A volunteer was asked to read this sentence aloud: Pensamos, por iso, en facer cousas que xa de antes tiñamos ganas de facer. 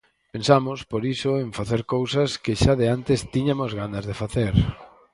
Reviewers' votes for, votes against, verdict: 0, 4, rejected